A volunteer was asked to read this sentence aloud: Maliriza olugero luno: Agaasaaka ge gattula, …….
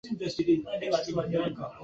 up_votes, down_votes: 0, 2